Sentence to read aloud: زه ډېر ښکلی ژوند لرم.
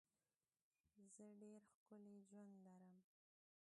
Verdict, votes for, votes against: rejected, 1, 2